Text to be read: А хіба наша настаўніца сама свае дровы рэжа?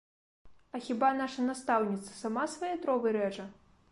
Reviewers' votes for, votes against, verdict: 2, 0, accepted